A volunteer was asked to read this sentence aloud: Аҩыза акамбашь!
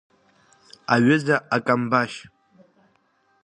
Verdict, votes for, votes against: accepted, 2, 0